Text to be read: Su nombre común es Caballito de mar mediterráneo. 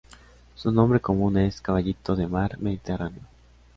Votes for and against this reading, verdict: 2, 0, accepted